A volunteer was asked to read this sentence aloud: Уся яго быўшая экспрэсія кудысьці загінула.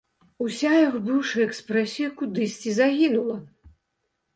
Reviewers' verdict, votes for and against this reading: accepted, 2, 0